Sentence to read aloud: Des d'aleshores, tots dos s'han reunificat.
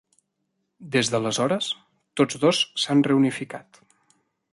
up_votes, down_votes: 3, 0